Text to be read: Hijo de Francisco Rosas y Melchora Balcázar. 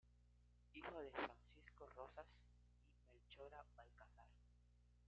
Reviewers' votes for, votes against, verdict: 0, 2, rejected